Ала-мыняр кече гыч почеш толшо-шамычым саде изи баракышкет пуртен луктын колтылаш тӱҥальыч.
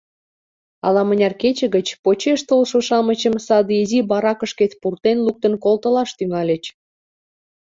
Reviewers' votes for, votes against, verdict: 2, 0, accepted